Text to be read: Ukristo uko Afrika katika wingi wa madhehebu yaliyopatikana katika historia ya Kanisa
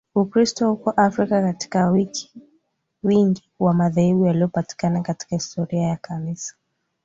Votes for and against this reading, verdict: 1, 3, rejected